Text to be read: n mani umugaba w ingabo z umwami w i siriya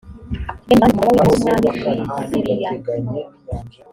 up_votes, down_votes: 0, 2